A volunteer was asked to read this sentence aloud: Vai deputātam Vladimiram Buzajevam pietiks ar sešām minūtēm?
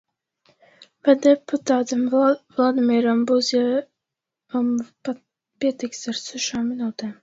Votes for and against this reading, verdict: 0, 2, rejected